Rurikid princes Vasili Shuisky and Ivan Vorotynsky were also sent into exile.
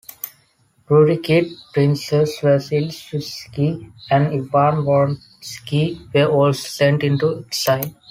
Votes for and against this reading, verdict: 1, 2, rejected